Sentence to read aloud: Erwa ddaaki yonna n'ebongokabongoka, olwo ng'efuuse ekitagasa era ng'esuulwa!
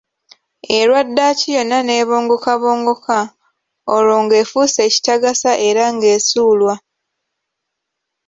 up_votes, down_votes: 2, 0